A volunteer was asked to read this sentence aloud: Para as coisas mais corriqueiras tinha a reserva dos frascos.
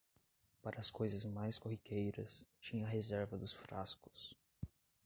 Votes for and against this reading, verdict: 1, 2, rejected